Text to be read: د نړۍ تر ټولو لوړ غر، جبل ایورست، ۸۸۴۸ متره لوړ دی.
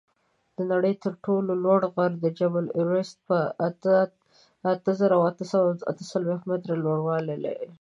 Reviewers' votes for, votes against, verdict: 0, 2, rejected